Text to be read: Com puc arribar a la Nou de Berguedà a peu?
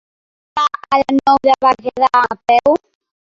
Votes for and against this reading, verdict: 0, 2, rejected